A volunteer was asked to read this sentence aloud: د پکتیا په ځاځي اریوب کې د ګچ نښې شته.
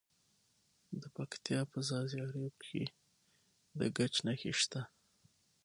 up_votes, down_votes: 6, 3